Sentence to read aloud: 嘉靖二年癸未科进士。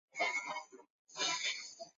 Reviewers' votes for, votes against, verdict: 0, 2, rejected